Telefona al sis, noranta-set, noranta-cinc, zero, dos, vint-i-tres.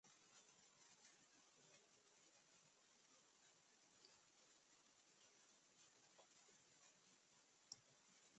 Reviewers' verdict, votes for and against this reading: rejected, 1, 3